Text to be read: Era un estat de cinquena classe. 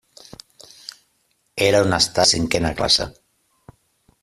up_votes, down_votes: 0, 2